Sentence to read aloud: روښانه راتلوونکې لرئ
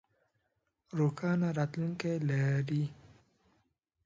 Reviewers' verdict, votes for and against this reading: rejected, 0, 2